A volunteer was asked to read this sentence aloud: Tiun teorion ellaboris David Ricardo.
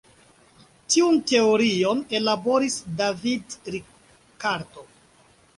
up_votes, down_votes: 0, 2